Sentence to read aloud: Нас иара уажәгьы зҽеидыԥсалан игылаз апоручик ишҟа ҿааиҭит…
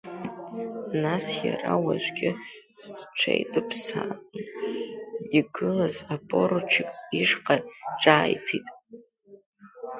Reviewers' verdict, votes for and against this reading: rejected, 0, 2